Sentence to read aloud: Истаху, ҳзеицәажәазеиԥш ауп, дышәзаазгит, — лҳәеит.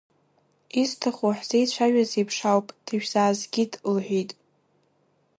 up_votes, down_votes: 1, 2